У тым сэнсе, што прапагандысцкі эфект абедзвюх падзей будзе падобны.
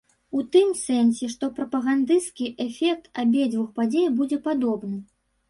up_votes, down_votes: 2, 0